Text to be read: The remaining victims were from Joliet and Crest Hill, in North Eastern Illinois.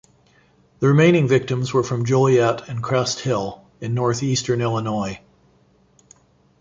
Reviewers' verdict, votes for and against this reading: accepted, 2, 0